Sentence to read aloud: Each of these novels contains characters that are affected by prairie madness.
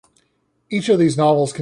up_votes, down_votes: 0, 3